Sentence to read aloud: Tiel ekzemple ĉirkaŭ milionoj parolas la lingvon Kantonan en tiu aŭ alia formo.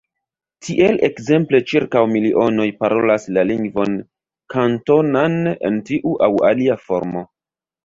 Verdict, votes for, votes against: accepted, 2, 1